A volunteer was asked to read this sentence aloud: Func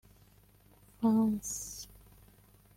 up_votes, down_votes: 1, 2